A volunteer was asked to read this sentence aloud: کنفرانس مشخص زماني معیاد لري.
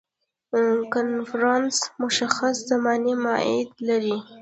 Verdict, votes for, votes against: rejected, 1, 2